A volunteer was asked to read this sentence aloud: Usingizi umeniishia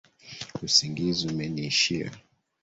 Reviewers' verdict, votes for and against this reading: rejected, 1, 2